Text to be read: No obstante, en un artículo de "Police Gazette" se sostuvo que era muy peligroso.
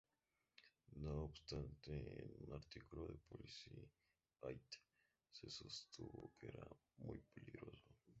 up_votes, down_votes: 0, 2